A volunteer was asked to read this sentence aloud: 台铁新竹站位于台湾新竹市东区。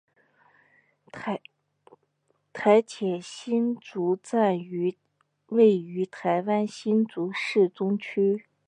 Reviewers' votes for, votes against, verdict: 0, 2, rejected